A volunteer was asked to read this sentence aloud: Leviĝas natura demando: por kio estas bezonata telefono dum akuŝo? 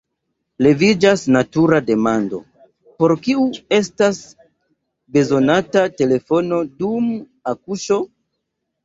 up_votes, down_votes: 0, 2